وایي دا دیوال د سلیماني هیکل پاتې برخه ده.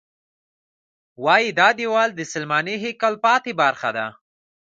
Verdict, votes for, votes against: accepted, 2, 0